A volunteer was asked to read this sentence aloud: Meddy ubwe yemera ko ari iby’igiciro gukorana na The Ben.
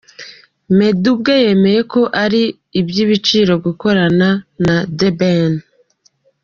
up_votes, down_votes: 1, 2